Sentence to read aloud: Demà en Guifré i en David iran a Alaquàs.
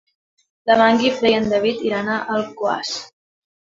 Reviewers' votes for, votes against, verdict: 0, 2, rejected